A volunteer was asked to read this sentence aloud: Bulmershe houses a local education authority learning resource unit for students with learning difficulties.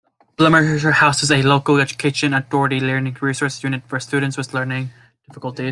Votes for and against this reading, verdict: 1, 3, rejected